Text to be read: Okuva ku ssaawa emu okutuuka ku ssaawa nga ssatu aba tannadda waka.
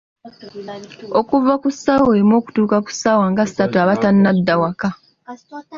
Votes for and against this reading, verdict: 2, 0, accepted